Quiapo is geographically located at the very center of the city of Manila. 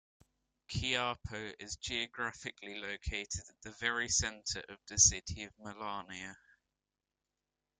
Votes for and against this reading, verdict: 1, 2, rejected